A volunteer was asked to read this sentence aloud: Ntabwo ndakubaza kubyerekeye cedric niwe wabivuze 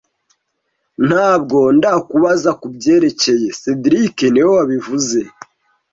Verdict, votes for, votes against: accepted, 2, 0